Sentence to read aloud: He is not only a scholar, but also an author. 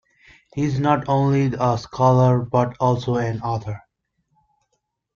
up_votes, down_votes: 3, 0